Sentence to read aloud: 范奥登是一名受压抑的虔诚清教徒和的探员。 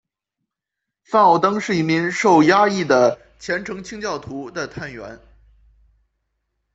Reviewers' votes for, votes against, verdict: 1, 2, rejected